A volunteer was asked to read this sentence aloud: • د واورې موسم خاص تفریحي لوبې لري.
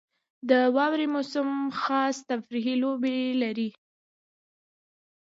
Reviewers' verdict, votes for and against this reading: accepted, 2, 0